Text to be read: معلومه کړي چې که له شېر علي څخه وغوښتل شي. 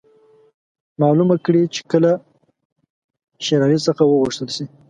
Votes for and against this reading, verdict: 1, 2, rejected